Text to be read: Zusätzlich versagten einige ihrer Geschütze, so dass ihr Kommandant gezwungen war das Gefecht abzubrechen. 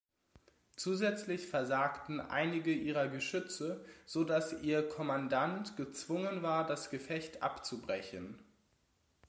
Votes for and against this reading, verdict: 2, 0, accepted